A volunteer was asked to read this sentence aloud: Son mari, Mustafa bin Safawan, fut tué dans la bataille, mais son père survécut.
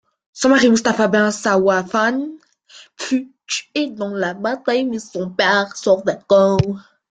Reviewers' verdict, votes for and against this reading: rejected, 0, 2